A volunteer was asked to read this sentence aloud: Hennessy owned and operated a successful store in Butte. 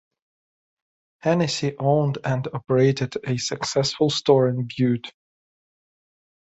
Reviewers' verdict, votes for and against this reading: accepted, 2, 0